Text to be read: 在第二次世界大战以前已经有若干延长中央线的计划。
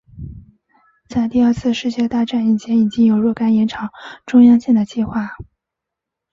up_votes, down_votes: 4, 0